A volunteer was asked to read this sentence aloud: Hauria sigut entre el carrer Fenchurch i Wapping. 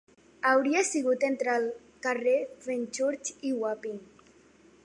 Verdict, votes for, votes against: accepted, 2, 0